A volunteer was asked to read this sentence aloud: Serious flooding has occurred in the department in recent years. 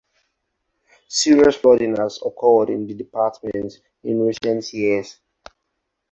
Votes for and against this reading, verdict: 4, 2, accepted